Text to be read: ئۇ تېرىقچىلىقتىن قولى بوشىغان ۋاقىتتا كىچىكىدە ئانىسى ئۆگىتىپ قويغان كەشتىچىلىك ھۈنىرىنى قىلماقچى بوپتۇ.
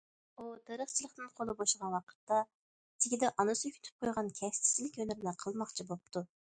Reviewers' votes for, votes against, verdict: 1, 2, rejected